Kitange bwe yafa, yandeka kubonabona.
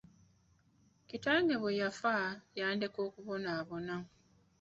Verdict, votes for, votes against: rejected, 1, 2